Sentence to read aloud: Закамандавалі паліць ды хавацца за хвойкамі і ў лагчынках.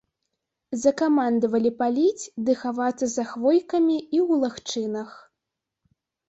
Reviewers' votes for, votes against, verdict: 1, 2, rejected